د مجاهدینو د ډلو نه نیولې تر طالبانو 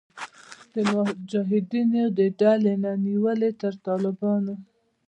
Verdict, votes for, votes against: accepted, 2, 0